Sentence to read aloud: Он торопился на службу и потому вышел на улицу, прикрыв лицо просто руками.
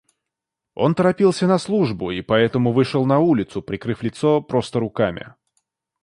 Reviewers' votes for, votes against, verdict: 0, 2, rejected